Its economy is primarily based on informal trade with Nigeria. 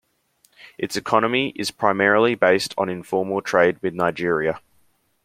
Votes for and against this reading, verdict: 2, 0, accepted